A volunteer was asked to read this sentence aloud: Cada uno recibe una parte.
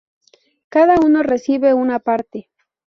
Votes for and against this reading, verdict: 2, 2, rejected